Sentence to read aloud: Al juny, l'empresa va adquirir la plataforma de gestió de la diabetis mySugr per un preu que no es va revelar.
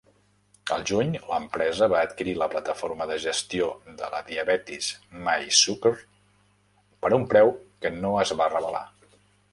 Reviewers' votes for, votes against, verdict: 0, 2, rejected